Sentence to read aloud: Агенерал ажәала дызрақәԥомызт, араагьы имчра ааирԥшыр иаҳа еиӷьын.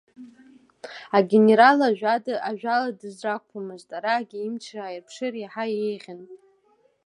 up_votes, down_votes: 2, 0